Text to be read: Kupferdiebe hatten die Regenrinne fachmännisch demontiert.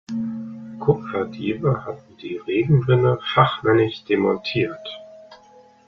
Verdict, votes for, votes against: accepted, 2, 0